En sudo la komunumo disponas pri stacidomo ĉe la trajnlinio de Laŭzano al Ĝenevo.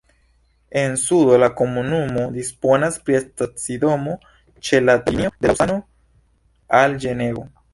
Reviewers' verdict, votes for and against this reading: rejected, 0, 2